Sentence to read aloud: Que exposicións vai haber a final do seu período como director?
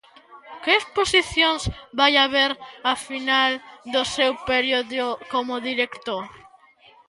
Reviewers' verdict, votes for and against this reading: accepted, 2, 1